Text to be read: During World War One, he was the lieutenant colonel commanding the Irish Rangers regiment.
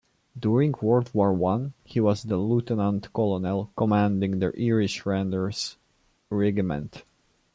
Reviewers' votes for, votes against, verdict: 0, 2, rejected